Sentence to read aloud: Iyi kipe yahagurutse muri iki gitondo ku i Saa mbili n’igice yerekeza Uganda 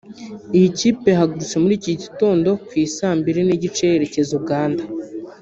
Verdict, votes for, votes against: accepted, 2, 0